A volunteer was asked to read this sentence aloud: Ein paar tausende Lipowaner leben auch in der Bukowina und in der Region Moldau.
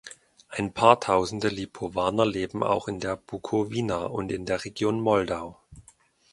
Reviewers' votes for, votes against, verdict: 2, 0, accepted